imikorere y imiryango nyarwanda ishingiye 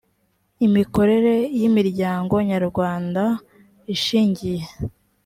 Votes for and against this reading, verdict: 2, 0, accepted